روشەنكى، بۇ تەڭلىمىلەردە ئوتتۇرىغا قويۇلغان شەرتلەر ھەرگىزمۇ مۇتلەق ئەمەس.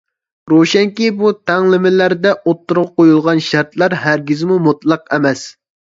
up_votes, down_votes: 2, 0